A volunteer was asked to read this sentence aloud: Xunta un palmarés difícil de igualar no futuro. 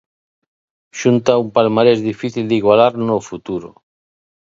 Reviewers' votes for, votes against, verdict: 2, 0, accepted